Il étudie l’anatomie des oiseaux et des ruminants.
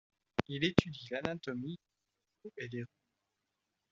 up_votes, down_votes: 1, 2